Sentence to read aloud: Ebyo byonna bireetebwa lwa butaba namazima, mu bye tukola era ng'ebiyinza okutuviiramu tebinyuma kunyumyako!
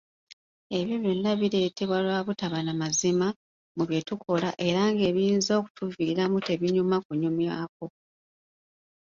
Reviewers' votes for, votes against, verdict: 2, 0, accepted